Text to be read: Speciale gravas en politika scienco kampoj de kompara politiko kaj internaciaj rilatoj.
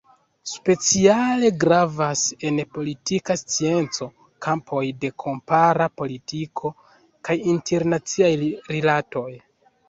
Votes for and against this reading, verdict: 2, 0, accepted